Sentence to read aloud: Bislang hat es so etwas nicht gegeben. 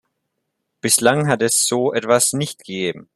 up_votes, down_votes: 2, 0